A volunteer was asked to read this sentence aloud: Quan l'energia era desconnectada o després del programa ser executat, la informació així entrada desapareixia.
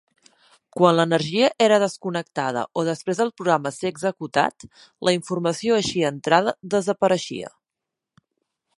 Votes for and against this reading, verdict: 2, 0, accepted